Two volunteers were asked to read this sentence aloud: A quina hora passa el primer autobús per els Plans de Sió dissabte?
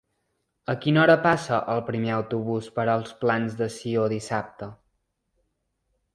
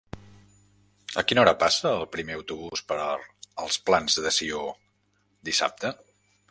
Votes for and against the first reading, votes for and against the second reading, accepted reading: 3, 0, 1, 2, first